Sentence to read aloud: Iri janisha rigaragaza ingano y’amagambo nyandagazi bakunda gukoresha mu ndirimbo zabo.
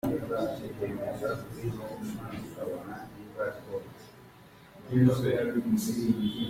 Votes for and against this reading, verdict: 0, 2, rejected